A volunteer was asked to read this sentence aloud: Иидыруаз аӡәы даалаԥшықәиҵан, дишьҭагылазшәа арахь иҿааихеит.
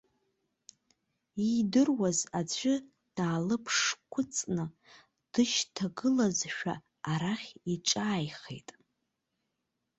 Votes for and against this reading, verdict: 0, 2, rejected